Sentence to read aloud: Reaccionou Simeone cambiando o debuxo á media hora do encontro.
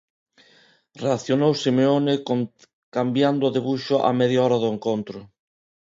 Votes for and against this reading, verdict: 0, 2, rejected